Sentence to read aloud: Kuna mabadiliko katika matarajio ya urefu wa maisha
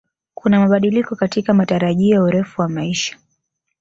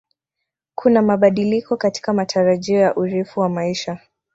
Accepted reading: first